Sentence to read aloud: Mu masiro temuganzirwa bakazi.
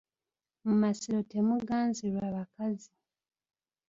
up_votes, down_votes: 2, 0